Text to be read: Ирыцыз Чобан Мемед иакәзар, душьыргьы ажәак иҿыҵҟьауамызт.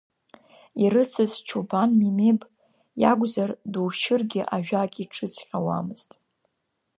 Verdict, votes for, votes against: rejected, 1, 2